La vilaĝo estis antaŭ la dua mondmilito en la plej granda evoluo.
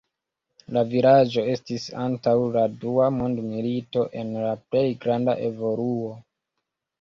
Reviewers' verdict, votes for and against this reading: rejected, 1, 2